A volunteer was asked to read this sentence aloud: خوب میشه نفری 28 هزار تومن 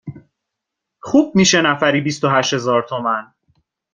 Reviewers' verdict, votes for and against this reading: rejected, 0, 2